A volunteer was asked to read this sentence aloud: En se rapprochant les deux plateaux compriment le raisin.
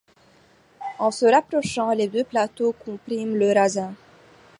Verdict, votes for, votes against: rejected, 1, 2